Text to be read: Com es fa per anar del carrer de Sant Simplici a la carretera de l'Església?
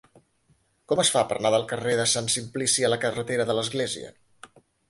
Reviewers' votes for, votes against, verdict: 2, 0, accepted